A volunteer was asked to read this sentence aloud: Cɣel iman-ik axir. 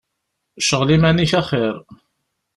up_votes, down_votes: 2, 0